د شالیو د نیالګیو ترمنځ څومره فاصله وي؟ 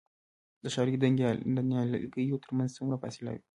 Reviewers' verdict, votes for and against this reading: rejected, 0, 2